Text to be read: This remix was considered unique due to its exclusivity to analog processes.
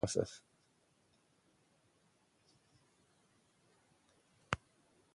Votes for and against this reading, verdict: 0, 2, rejected